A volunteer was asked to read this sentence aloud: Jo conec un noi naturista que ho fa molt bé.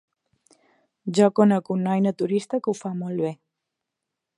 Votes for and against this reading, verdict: 4, 0, accepted